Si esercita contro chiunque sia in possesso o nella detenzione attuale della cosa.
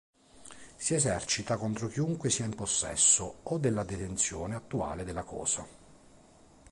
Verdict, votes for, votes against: rejected, 1, 2